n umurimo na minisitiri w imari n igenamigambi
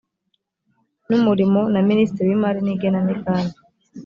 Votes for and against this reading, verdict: 3, 1, accepted